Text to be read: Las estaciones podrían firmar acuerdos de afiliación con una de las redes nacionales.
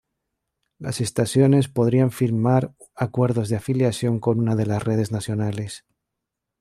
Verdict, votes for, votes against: accepted, 2, 0